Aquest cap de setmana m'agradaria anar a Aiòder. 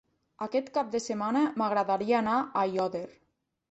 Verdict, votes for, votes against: rejected, 1, 2